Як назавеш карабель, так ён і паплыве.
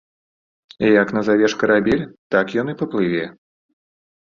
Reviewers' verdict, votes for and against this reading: accepted, 2, 0